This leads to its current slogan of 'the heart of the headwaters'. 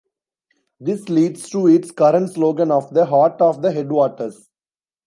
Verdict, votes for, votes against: rejected, 1, 2